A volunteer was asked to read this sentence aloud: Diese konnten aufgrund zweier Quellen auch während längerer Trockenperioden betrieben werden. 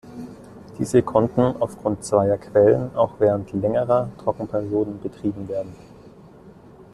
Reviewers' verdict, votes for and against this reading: accepted, 2, 0